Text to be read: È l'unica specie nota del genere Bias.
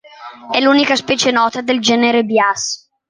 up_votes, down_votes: 0, 2